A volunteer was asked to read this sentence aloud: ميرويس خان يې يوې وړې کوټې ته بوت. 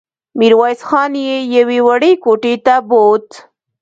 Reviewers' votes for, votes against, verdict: 2, 0, accepted